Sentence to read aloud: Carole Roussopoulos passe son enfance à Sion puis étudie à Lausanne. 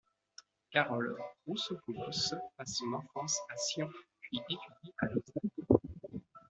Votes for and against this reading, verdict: 1, 2, rejected